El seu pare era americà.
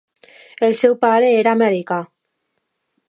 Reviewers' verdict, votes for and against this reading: accepted, 2, 0